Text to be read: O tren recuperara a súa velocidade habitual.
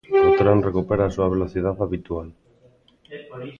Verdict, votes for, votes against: rejected, 1, 2